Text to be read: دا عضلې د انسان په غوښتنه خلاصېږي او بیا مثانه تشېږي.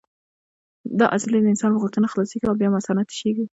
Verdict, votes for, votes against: rejected, 0, 2